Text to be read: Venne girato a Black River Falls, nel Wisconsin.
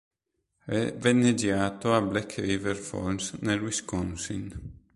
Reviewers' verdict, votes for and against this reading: rejected, 1, 2